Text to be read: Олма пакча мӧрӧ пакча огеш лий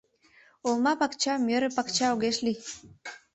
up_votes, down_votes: 2, 0